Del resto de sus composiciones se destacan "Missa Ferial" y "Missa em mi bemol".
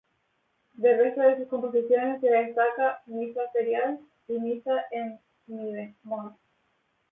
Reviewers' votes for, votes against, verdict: 2, 0, accepted